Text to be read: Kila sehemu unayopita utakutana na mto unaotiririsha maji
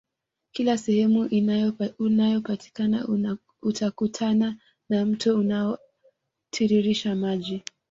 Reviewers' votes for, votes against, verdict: 0, 2, rejected